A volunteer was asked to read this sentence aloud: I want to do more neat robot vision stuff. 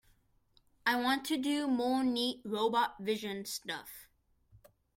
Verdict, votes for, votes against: accepted, 2, 0